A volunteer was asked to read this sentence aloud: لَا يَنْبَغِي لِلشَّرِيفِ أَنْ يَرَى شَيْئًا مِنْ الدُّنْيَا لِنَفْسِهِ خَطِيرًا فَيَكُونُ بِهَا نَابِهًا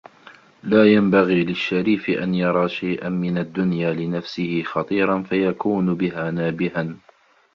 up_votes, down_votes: 2, 1